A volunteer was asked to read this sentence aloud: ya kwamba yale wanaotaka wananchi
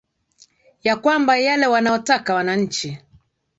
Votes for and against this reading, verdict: 2, 0, accepted